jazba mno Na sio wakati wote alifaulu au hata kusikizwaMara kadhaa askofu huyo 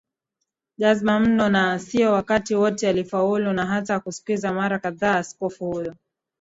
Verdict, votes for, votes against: rejected, 0, 2